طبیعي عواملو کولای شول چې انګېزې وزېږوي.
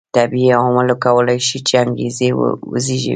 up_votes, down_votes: 0, 2